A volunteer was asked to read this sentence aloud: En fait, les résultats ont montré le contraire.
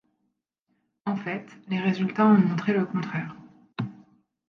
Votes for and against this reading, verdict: 2, 0, accepted